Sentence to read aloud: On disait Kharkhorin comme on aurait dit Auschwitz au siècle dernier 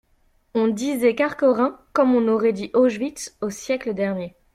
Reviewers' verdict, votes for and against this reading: accepted, 2, 0